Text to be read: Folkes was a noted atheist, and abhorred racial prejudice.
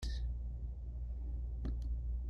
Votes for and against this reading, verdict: 0, 2, rejected